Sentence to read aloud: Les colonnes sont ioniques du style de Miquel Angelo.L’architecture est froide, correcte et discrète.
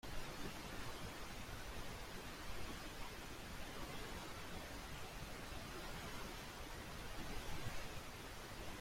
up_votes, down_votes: 0, 2